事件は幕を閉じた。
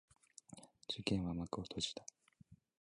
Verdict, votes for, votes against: rejected, 1, 2